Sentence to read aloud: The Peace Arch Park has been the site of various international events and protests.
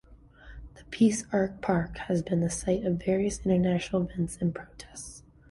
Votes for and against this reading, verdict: 2, 0, accepted